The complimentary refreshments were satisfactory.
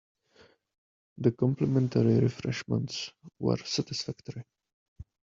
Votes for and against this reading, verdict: 2, 0, accepted